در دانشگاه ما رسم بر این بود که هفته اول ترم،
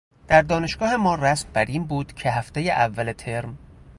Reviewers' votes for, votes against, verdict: 0, 2, rejected